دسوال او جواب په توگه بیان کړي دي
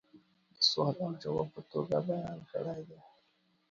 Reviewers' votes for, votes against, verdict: 1, 2, rejected